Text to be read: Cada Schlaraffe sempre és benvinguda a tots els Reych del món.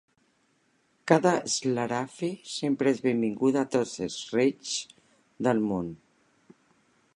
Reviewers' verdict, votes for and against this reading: accepted, 2, 0